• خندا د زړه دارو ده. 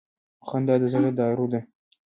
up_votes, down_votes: 0, 2